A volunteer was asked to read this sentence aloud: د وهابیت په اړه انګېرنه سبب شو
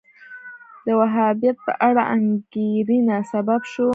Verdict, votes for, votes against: rejected, 1, 2